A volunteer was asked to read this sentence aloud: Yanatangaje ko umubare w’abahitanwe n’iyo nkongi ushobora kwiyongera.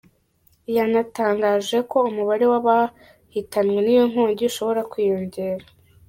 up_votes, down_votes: 3, 1